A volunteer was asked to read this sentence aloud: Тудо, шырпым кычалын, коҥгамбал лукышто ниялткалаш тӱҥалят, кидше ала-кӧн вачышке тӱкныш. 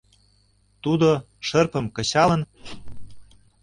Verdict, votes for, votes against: rejected, 0, 2